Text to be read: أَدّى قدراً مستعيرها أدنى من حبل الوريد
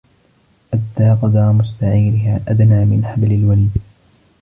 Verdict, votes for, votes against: rejected, 1, 2